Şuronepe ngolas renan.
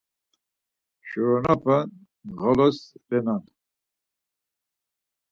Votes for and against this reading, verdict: 0, 4, rejected